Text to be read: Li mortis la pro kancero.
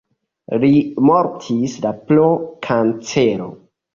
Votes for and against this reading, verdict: 1, 2, rejected